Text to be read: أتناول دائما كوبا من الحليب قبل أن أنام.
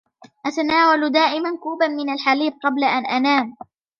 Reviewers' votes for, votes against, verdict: 3, 1, accepted